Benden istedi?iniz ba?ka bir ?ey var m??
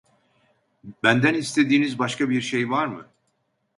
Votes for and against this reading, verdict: 0, 2, rejected